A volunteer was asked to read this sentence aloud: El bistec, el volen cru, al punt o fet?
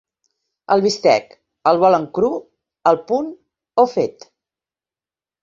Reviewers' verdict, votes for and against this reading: accepted, 2, 0